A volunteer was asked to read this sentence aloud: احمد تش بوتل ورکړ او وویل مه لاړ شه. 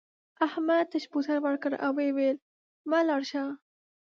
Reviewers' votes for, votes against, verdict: 0, 2, rejected